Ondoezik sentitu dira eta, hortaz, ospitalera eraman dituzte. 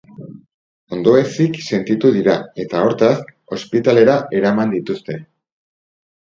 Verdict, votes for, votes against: accepted, 2, 0